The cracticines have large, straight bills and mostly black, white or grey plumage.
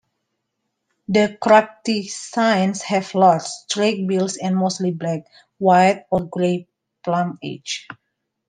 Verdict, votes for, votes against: accepted, 2, 1